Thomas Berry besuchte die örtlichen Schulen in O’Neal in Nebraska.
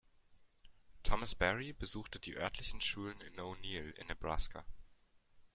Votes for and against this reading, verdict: 2, 0, accepted